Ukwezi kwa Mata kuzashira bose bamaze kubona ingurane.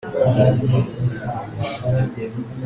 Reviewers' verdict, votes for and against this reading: rejected, 0, 3